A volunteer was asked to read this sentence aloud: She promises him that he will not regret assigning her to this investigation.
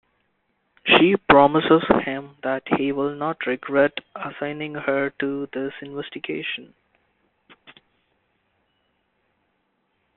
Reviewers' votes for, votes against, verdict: 2, 1, accepted